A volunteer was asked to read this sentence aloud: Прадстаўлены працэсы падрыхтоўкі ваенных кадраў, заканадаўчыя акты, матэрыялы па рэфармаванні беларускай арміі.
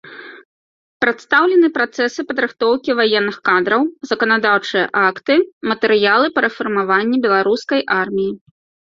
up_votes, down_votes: 2, 0